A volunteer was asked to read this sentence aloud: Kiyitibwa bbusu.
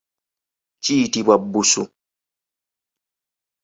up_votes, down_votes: 2, 0